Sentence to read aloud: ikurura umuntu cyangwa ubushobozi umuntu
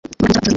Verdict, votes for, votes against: rejected, 1, 2